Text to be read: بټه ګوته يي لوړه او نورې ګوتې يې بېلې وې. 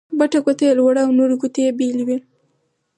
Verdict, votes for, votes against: accepted, 4, 2